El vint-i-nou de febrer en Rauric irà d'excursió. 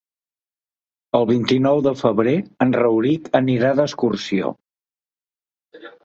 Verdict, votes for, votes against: rejected, 2, 3